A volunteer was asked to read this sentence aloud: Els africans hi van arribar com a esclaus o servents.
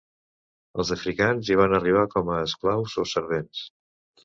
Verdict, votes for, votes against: accepted, 2, 0